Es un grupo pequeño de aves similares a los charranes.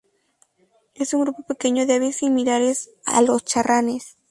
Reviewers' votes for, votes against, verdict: 2, 0, accepted